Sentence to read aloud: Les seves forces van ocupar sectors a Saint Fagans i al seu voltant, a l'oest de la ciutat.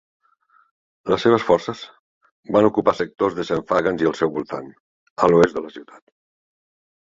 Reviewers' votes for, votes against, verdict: 1, 2, rejected